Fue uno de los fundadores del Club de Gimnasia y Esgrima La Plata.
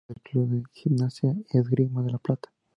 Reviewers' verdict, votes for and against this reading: rejected, 0, 2